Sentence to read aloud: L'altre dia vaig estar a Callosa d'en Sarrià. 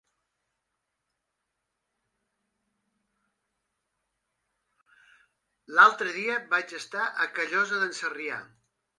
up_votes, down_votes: 2, 1